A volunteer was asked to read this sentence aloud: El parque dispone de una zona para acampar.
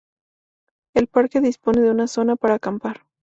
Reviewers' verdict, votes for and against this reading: accepted, 2, 0